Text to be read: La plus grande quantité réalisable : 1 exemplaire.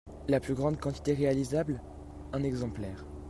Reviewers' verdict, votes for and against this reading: rejected, 0, 2